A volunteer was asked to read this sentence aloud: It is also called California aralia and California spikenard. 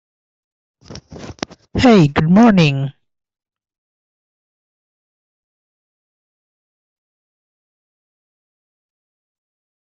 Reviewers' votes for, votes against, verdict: 0, 2, rejected